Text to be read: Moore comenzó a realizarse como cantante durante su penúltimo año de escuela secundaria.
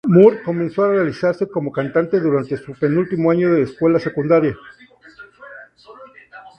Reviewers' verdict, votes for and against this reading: accepted, 2, 0